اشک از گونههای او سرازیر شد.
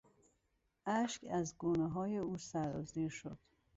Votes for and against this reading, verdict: 2, 0, accepted